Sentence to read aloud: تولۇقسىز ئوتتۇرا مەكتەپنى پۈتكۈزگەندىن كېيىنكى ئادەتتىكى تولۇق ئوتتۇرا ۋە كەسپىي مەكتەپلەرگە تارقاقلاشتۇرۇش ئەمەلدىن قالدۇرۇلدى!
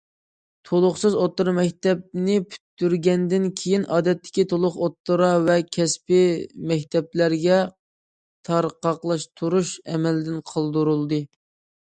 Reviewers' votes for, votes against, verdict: 0, 2, rejected